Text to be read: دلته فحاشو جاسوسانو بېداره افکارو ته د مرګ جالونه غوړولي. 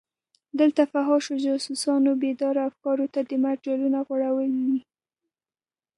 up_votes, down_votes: 1, 2